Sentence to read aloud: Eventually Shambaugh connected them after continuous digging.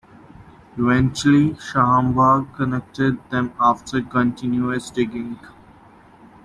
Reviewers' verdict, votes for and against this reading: accepted, 2, 1